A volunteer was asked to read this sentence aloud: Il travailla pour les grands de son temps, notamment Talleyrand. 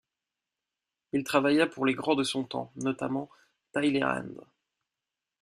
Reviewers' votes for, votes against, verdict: 0, 2, rejected